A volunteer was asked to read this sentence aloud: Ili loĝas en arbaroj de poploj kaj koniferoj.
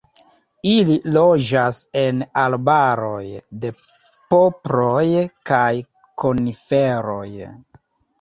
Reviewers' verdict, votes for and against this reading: rejected, 1, 2